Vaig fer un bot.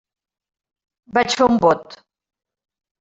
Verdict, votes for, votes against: accepted, 2, 0